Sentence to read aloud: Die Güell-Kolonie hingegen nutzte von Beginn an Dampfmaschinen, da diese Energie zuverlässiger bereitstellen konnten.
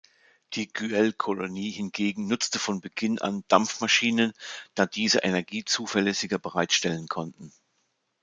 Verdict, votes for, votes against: accepted, 2, 0